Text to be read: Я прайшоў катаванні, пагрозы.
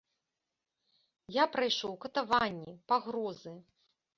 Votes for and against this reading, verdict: 2, 0, accepted